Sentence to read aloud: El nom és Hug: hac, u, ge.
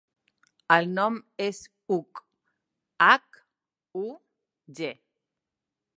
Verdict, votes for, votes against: accepted, 2, 0